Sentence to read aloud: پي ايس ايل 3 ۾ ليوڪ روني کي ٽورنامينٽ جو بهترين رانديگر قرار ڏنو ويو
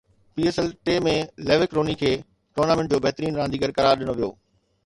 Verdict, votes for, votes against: rejected, 0, 2